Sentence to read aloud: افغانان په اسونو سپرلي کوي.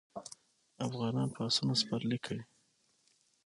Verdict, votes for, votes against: accepted, 6, 0